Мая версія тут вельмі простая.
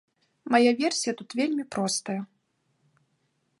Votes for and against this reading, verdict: 2, 0, accepted